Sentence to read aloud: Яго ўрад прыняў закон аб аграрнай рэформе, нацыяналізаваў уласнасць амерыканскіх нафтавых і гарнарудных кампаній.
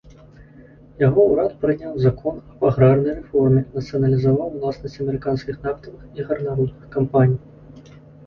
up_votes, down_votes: 0, 2